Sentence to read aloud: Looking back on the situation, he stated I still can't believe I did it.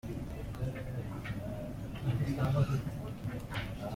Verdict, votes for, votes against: rejected, 0, 2